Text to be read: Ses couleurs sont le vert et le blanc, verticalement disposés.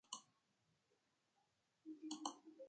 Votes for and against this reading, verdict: 0, 2, rejected